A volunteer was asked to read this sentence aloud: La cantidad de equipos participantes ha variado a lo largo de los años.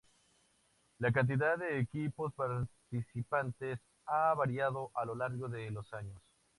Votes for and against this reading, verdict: 4, 0, accepted